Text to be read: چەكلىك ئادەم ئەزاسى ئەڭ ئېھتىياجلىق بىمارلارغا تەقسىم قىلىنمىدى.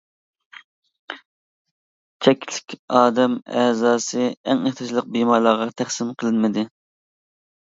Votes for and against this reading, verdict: 1, 2, rejected